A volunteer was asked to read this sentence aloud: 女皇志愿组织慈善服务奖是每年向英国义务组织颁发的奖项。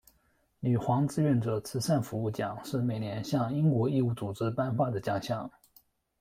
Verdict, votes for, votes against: rejected, 0, 2